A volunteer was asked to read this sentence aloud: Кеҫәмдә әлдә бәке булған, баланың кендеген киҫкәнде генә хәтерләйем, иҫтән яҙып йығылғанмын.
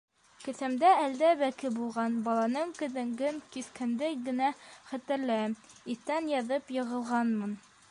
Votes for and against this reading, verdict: 0, 2, rejected